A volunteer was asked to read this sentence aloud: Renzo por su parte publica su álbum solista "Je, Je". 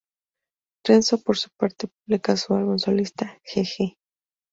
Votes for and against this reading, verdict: 4, 0, accepted